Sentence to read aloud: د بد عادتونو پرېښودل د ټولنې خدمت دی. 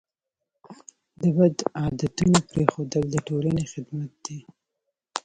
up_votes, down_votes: 0, 2